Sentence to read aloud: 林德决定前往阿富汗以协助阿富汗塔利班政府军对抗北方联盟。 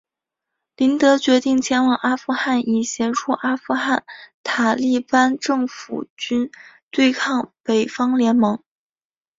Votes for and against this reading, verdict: 3, 0, accepted